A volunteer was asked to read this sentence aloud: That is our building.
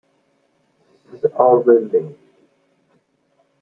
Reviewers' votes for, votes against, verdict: 1, 2, rejected